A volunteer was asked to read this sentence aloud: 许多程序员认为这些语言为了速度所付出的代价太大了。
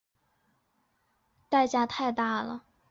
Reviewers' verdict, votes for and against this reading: accepted, 5, 1